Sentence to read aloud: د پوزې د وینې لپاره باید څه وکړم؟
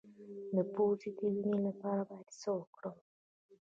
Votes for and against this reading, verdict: 2, 0, accepted